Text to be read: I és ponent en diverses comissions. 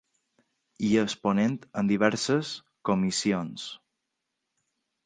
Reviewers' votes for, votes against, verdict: 2, 0, accepted